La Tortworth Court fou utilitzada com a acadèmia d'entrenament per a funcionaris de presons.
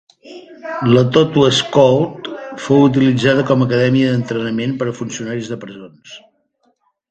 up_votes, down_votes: 2, 1